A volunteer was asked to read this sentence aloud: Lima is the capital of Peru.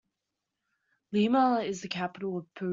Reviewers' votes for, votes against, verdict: 0, 2, rejected